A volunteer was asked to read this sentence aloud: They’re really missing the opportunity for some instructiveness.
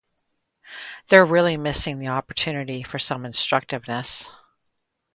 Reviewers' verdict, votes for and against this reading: rejected, 2, 2